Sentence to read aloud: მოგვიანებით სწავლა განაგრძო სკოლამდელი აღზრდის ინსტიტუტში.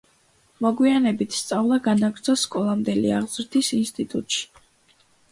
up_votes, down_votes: 2, 0